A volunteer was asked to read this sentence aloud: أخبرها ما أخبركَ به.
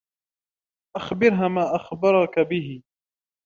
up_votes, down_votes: 2, 0